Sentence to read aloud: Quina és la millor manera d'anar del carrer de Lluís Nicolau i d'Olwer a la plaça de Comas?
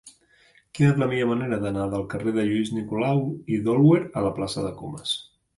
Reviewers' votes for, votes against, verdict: 3, 0, accepted